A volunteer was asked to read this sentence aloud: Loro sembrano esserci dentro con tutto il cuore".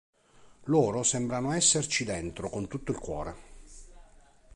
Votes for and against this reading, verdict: 4, 0, accepted